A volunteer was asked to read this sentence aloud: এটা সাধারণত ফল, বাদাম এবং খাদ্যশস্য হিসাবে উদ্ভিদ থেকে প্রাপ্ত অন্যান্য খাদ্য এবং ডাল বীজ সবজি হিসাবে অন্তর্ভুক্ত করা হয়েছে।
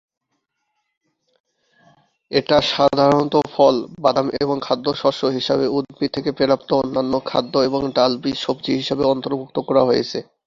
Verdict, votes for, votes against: rejected, 0, 3